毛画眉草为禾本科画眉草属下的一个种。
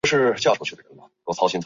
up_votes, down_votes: 0, 3